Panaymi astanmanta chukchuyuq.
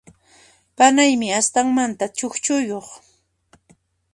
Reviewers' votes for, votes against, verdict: 2, 1, accepted